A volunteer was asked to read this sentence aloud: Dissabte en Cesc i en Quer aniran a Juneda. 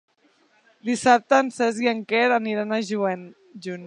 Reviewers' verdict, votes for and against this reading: rejected, 0, 2